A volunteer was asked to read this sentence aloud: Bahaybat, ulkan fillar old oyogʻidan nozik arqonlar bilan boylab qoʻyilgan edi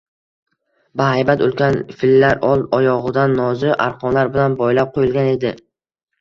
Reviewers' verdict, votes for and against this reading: accepted, 2, 0